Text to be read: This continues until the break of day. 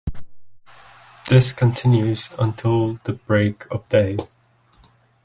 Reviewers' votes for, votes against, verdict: 2, 0, accepted